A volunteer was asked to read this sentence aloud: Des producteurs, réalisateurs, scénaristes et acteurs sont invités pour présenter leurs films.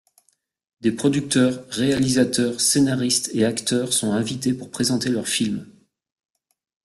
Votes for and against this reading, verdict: 2, 0, accepted